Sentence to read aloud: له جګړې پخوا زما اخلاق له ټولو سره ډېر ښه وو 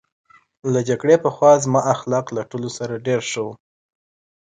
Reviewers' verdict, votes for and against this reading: accepted, 2, 0